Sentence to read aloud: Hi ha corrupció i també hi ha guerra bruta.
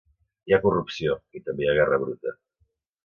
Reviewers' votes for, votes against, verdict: 3, 0, accepted